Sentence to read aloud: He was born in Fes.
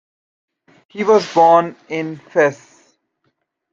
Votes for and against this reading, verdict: 2, 1, accepted